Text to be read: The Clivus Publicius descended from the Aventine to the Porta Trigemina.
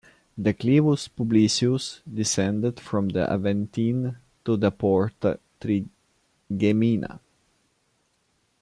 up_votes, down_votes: 1, 2